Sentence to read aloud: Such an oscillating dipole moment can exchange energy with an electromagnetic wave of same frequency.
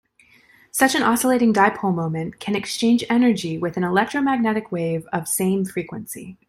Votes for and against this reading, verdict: 2, 0, accepted